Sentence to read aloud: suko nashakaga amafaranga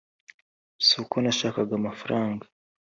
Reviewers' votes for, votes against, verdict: 3, 0, accepted